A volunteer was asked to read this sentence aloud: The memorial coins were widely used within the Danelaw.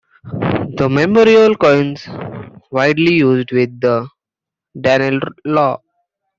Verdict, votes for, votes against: rejected, 0, 2